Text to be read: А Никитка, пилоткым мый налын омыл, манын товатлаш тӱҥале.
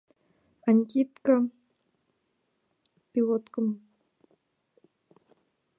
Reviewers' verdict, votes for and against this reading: rejected, 0, 2